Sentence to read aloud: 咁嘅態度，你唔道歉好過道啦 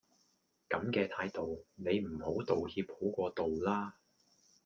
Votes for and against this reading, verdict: 0, 2, rejected